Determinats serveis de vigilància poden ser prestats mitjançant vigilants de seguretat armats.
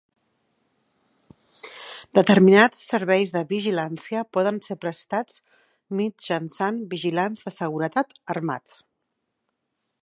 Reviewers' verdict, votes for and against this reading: accepted, 2, 0